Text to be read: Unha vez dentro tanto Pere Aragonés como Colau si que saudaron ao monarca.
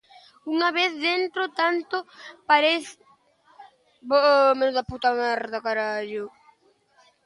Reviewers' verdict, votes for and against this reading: rejected, 0, 2